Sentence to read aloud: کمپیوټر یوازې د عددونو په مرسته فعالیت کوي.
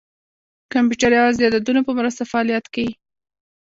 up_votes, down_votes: 2, 1